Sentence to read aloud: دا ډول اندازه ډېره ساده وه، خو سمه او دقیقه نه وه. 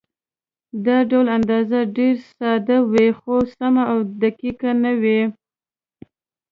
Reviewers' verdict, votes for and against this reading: rejected, 1, 2